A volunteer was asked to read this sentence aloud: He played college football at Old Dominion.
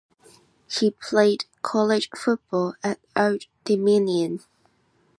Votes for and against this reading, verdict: 2, 1, accepted